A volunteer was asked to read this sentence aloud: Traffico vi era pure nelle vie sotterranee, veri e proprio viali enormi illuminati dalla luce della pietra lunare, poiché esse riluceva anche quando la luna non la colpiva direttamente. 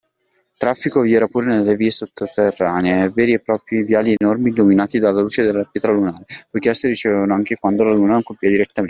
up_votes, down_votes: 0, 2